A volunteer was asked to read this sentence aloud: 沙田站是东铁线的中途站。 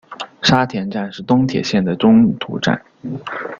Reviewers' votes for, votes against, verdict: 0, 2, rejected